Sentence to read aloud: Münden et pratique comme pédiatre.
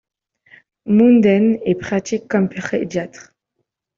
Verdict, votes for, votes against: rejected, 0, 2